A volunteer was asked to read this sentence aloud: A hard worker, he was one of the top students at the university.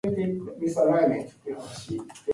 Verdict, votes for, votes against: rejected, 0, 2